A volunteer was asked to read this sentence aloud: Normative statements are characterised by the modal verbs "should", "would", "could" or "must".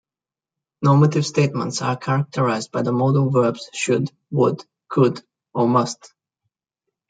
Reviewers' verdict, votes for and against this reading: accepted, 2, 0